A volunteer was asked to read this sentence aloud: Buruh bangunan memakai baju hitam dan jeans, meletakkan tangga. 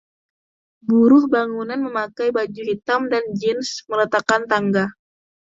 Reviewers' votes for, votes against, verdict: 2, 0, accepted